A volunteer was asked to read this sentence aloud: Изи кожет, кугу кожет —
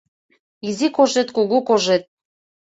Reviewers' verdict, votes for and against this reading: accepted, 2, 0